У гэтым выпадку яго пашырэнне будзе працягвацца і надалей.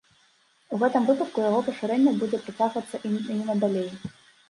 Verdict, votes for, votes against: accepted, 2, 1